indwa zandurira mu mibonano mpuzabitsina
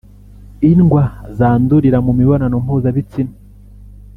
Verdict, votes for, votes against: rejected, 0, 2